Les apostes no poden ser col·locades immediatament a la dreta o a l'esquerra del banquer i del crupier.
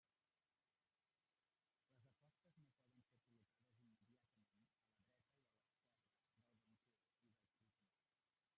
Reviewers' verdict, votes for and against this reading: rejected, 0, 2